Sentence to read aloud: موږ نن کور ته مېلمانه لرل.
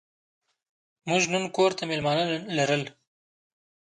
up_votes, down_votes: 2, 1